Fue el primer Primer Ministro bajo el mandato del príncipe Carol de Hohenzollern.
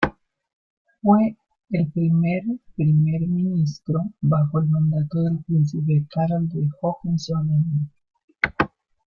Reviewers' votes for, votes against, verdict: 1, 2, rejected